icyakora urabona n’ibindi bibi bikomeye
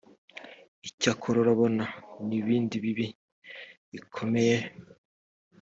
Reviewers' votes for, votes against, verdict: 2, 0, accepted